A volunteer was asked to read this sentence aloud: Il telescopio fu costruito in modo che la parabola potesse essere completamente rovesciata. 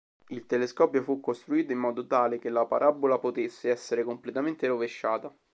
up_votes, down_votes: 0, 2